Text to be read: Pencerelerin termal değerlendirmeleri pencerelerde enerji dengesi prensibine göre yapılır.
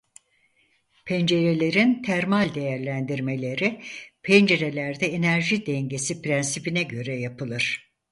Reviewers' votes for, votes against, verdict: 4, 0, accepted